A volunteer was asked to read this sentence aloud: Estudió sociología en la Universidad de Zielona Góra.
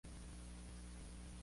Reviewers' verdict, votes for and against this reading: rejected, 0, 2